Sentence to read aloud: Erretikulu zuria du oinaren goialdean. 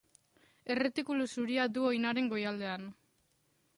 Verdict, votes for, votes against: accepted, 2, 0